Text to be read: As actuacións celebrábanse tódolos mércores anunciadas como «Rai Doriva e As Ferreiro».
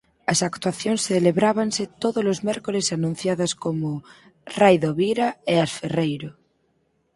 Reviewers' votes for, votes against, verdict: 0, 4, rejected